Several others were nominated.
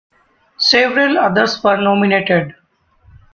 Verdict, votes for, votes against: accepted, 2, 1